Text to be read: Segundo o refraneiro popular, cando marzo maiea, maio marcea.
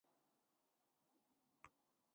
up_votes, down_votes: 0, 2